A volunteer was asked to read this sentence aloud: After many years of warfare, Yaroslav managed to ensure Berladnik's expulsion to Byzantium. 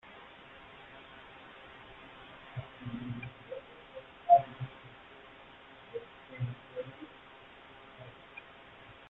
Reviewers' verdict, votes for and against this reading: rejected, 0, 2